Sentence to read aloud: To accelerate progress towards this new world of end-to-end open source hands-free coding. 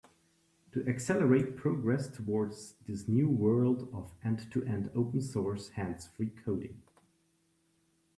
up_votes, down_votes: 2, 0